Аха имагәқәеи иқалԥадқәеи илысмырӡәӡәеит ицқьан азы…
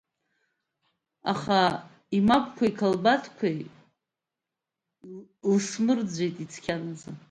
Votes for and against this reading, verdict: 1, 2, rejected